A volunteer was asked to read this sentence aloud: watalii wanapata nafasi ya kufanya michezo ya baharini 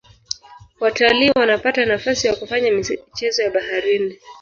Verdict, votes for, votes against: accepted, 4, 3